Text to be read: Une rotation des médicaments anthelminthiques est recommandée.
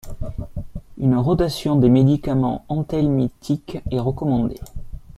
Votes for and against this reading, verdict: 2, 0, accepted